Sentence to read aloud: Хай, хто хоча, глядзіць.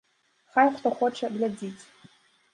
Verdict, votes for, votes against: accepted, 3, 0